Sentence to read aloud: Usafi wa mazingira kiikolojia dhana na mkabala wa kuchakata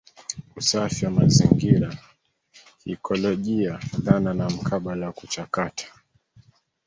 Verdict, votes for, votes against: accepted, 2, 1